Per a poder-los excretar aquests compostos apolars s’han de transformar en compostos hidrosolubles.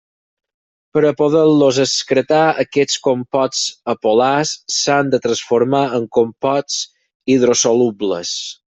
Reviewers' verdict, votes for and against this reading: rejected, 0, 4